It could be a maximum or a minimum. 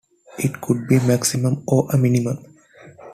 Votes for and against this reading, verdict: 2, 1, accepted